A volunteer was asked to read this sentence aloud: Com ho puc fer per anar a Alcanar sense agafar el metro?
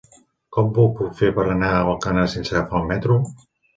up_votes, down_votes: 1, 2